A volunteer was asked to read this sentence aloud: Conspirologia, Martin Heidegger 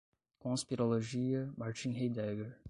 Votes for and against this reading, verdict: 0, 5, rejected